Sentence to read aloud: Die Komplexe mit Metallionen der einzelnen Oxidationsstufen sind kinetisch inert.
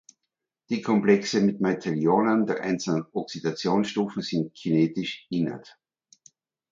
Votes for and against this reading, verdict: 2, 1, accepted